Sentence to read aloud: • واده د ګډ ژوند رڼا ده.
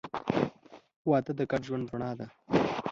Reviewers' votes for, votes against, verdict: 2, 0, accepted